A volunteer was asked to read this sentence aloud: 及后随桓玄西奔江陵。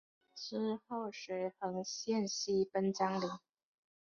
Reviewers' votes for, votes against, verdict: 0, 2, rejected